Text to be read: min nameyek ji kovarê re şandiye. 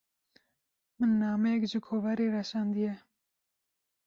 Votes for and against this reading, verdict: 2, 0, accepted